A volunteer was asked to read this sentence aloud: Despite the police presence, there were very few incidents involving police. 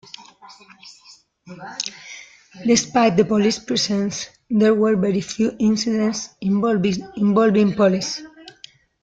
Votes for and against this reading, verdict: 0, 2, rejected